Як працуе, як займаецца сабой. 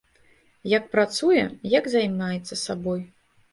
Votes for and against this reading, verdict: 2, 0, accepted